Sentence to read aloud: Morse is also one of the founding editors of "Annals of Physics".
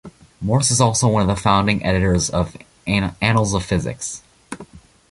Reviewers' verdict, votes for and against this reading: rejected, 1, 2